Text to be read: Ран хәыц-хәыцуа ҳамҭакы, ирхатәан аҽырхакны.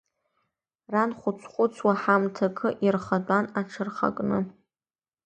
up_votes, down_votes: 2, 0